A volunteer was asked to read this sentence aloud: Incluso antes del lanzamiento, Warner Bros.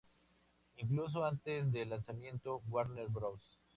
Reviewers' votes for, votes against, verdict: 2, 2, rejected